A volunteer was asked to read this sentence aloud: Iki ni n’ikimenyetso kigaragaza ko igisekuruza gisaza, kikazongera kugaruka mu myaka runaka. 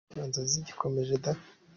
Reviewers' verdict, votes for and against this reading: rejected, 0, 2